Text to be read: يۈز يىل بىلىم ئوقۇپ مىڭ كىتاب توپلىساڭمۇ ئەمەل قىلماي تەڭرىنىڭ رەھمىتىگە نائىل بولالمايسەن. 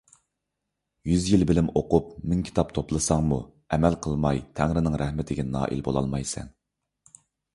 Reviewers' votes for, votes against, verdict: 2, 0, accepted